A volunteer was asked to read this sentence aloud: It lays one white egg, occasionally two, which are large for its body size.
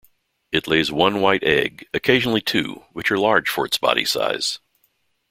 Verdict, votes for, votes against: accepted, 2, 0